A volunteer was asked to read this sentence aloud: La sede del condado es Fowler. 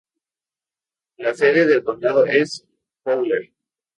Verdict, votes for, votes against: rejected, 0, 2